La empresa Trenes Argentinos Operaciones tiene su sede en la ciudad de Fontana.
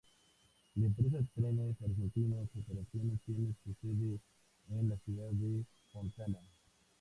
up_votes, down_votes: 2, 0